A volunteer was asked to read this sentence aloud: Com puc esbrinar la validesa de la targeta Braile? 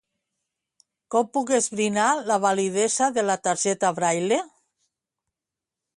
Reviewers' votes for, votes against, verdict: 2, 0, accepted